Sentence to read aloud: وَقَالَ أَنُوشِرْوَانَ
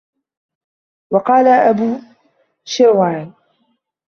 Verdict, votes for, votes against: rejected, 0, 2